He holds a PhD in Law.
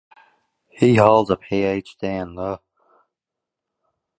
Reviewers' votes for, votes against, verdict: 2, 0, accepted